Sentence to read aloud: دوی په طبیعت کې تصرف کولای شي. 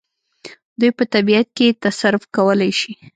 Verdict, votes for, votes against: accepted, 2, 0